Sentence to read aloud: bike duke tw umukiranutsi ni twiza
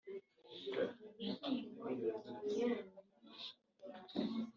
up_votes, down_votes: 1, 2